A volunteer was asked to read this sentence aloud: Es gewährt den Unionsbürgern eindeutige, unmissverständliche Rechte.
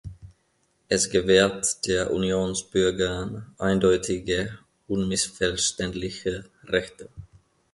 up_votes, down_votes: 1, 2